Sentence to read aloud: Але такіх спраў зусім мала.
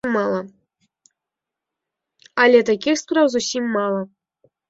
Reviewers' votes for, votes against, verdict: 1, 2, rejected